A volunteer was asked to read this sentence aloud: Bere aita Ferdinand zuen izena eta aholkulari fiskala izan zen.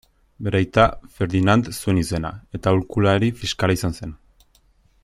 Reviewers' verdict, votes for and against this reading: accepted, 2, 0